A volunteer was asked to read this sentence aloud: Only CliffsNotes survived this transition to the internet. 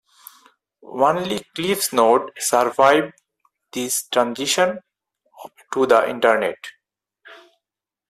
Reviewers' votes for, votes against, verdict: 2, 4, rejected